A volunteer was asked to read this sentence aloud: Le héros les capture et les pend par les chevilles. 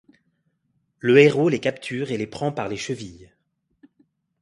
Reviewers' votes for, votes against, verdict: 0, 2, rejected